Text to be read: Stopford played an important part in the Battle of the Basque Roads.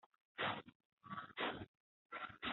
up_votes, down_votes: 0, 2